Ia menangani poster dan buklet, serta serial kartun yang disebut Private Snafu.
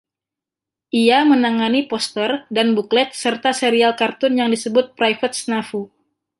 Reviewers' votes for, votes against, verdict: 2, 0, accepted